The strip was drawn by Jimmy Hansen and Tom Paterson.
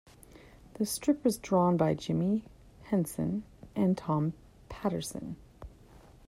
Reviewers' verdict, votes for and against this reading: accepted, 2, 1